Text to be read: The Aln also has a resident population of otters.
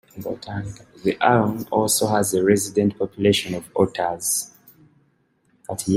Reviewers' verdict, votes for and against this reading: rejected, 0, 2